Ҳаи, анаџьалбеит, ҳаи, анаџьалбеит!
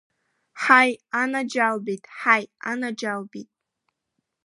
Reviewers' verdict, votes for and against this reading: accepted, 2, 0